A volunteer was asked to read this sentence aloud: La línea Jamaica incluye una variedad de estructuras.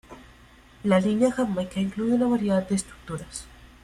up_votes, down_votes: 1, 2